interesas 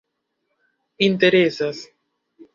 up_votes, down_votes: 2, 0